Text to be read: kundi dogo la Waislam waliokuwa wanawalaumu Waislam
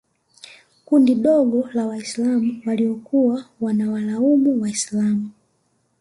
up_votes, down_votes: 2, 0